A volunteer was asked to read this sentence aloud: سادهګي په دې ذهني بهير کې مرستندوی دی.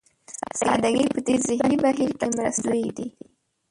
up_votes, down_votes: 0, 2